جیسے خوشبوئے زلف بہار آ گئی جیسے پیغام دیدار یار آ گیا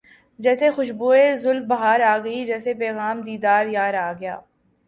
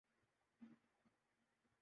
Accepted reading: first